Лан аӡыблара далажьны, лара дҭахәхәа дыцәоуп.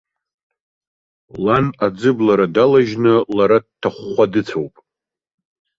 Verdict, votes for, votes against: accepted, 2, 0